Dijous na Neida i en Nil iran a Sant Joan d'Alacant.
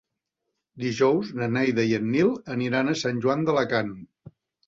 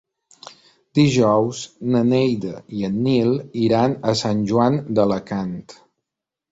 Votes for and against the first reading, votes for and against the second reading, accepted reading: 0, 2, 2, 0, second